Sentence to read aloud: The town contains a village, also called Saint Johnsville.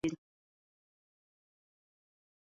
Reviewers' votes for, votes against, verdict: 0, 2, rejected